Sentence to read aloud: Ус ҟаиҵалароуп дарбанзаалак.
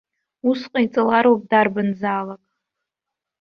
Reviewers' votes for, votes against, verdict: 2, 0, accepted